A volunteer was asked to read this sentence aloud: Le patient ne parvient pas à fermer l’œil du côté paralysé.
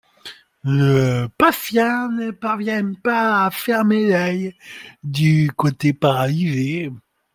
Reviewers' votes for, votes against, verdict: 2, 0, accepted